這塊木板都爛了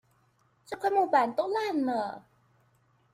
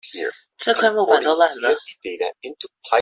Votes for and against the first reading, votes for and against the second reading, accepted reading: 2, 0, 0, 2, first